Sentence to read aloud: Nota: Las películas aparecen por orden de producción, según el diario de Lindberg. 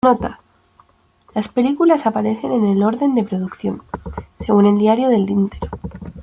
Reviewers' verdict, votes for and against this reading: rejected, 1, 2